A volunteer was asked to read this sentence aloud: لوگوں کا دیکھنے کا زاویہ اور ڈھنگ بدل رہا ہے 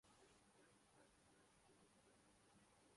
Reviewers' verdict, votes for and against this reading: rejected, 0, 2